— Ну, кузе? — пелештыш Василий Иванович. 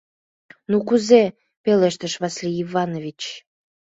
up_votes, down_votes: 0, 2